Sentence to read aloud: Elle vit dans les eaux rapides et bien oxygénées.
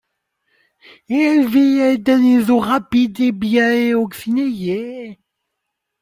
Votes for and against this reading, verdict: 1, 2, rejected